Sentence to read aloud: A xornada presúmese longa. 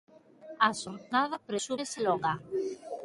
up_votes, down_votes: 1, 2